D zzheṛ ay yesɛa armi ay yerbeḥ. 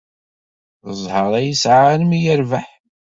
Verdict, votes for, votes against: accepted, 2, 0